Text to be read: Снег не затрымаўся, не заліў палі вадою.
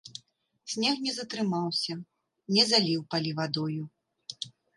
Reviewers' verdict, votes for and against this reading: accepted, 2, 0